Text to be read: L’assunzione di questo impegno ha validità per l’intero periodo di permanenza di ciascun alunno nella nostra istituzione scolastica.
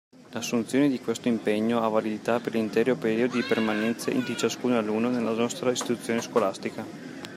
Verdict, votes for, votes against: accepted, 2, 1